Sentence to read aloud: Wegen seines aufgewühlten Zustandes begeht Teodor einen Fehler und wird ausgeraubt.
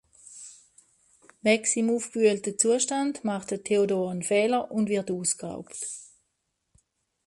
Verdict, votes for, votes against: rejected, 0, 2